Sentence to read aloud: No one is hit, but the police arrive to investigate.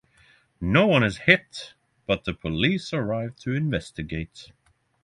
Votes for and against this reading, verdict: 6, 0, accepted